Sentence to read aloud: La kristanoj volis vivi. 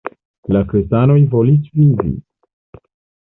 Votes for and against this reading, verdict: 1, 2, rejected